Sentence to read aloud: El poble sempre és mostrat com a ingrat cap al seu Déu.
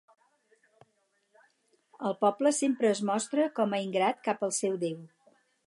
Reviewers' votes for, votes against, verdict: 2, 2, rejected